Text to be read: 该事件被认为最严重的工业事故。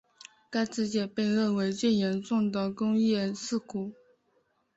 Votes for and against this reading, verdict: 2, 0, accepted